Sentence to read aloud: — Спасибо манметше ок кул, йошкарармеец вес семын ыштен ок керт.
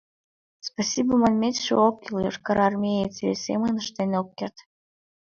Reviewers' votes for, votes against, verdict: 1, 2, rejected